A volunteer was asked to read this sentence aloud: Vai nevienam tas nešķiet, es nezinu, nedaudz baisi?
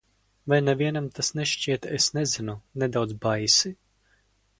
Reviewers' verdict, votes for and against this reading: accepted, 2, 0